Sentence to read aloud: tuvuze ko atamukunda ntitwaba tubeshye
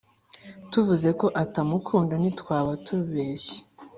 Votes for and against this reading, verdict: 4, 0, accepted